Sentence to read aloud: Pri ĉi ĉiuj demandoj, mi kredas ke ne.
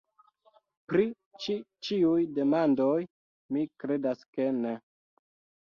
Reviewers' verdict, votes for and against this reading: rejected, 1, 2